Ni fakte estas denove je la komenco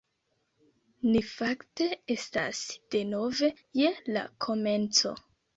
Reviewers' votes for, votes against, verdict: 2, 1, accepted